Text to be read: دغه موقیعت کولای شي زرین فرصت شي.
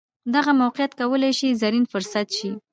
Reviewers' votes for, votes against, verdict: 2, 0, accepted